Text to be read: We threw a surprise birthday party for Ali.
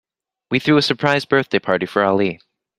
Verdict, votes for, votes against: accepted, 2, 0